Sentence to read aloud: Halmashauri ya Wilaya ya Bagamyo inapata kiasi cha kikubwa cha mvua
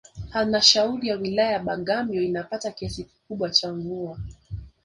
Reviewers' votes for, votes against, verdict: 4, 0, accepted